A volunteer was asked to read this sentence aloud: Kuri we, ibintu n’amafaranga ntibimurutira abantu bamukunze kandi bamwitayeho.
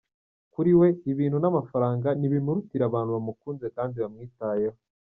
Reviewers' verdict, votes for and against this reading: accepted, 2, 0